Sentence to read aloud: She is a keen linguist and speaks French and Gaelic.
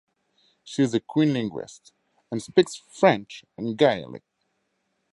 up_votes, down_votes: 0, 4